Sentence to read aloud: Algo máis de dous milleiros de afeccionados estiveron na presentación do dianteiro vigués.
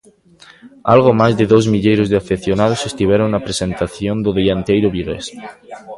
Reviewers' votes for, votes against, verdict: 0, 2, rejected